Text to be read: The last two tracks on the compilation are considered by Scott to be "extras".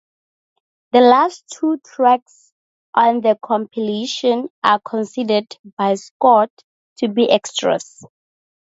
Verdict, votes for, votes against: accepted, 2, 0